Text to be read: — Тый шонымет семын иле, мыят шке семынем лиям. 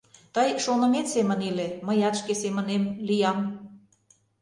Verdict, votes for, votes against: accepted, 2, 0